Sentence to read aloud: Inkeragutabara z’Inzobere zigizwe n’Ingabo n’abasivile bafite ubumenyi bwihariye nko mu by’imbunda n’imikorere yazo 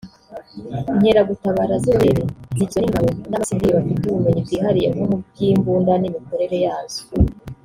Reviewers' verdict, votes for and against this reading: rejected, 1, 2